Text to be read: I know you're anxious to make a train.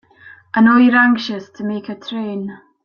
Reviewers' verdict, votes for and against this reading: accepted, 3, 0